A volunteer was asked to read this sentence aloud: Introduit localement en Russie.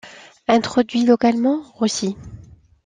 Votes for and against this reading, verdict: 0, 2, rejected